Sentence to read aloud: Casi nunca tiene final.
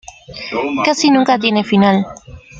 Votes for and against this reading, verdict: 1, 2, rejected